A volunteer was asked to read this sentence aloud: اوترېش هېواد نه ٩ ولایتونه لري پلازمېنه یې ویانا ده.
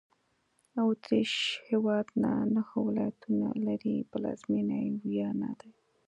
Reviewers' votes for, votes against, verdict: 0, 2, rejected